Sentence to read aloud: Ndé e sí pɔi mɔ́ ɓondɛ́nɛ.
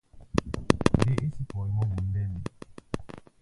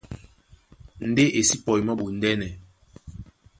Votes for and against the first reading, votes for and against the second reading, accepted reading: 0, 2, 2, 0, second